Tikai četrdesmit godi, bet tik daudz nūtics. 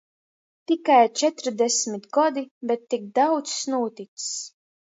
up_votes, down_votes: 2, 0